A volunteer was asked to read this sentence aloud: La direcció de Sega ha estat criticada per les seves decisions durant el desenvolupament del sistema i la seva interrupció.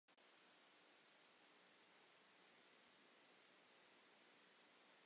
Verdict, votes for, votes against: rejected, 0, 2